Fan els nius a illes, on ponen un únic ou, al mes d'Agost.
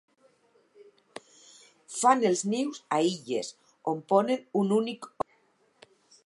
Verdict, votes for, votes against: rejected, 0, 4